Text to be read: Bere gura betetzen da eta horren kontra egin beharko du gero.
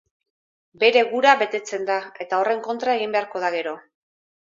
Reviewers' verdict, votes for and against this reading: rejected, 2, 2